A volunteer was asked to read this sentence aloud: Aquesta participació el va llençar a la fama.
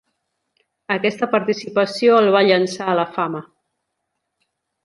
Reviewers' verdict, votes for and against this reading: accepted, 2, 0